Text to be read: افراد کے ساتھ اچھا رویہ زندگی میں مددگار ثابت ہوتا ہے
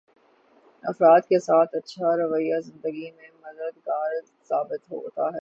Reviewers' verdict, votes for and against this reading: rejected, 3, 6